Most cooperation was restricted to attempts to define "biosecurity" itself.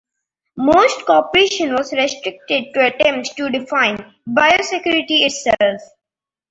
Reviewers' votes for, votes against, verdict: 2, 1, accepted